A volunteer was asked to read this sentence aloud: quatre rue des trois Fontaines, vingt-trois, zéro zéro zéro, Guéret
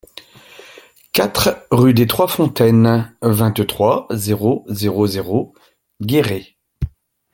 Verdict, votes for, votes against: accepted, 2, 0